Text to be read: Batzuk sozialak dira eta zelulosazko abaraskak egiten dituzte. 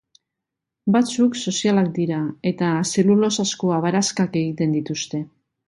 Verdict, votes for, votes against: accepted, 2, 0